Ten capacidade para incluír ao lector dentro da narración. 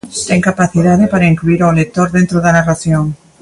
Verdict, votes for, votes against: rejected, 1, 2